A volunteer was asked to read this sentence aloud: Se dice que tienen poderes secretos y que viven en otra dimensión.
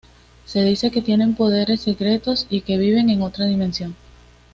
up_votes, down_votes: 2, 1